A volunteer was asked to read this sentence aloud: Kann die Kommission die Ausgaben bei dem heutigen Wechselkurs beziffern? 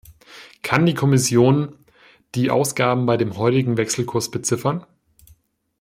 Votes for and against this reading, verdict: 1, 2, rejected